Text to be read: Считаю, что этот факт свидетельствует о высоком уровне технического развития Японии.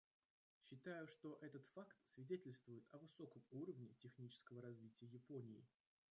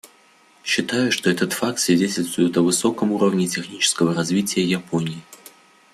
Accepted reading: second